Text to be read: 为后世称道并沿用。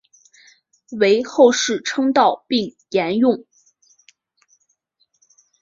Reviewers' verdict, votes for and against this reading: accepted, 2, 0